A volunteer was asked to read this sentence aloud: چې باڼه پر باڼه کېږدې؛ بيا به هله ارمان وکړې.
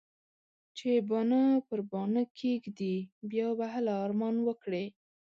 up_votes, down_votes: 1, 2